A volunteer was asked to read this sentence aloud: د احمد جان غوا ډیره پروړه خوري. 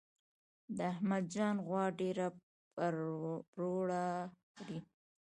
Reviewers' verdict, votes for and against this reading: accepted, 2, 0